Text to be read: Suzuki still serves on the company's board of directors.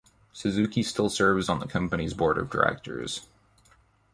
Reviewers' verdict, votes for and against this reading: accepted, 2, 0